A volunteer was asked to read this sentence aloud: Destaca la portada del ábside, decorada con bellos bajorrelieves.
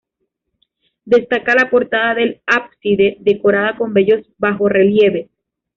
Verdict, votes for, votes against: accepted, 2, 0